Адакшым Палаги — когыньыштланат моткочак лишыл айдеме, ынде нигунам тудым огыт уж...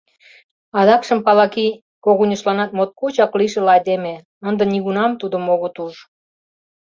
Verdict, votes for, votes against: accepted, 2, 0